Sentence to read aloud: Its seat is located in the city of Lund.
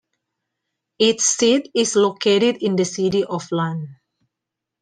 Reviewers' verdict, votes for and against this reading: accepted, 2, 0